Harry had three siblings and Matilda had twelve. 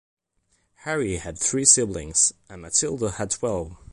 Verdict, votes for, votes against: accepted, 2, 0